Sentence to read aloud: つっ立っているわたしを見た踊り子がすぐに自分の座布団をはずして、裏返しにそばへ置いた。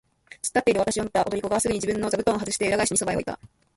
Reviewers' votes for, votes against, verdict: 1, 2, rejected